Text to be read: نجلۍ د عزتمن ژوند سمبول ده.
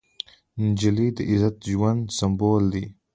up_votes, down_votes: 2, 1